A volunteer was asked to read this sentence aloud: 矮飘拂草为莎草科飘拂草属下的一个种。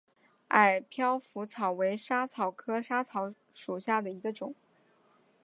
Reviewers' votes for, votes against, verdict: 2, 0, accepted